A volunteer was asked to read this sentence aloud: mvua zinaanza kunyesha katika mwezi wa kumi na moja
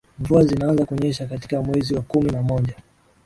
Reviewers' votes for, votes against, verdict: 3, 1, accepted